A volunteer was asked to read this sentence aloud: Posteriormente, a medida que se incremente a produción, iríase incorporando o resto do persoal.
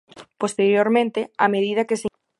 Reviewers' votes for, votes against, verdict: 0, 2, rejected